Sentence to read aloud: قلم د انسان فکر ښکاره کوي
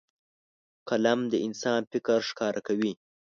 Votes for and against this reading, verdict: 2, 0, accepted